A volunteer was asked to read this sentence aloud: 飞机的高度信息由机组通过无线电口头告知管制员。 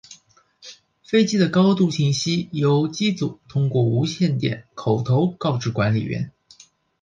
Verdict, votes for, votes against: rejected, 0, 2